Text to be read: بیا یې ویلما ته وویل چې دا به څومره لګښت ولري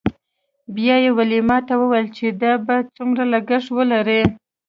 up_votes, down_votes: 2, 0